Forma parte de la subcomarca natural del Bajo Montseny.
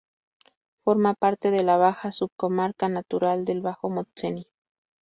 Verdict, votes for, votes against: rejected, 0, 2